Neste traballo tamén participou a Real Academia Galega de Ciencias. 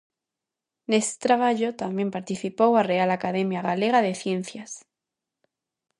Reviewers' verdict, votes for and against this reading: accepted, 2, 0